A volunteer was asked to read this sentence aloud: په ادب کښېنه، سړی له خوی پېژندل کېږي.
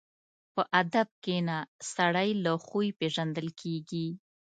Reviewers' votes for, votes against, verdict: 2, 0, accepted